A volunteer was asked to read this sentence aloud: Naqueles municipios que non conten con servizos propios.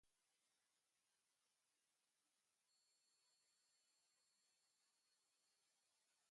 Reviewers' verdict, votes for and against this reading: rejected, 0, 2